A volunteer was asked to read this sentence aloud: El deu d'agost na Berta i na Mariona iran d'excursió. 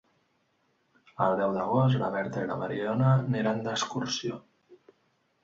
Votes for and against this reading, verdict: 1, 2, rejected